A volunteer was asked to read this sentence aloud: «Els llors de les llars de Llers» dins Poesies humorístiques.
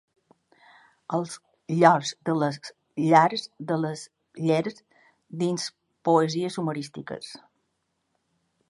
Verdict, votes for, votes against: rejected, 0, 3